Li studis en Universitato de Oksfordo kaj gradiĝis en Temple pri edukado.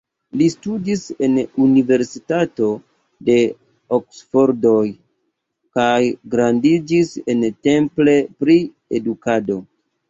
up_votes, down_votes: 1, 2